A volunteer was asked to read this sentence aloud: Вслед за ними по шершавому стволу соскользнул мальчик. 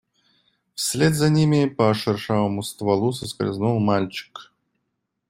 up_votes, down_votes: 2, 0